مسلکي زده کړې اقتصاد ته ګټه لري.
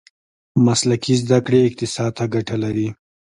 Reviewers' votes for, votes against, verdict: 2, 0, accepted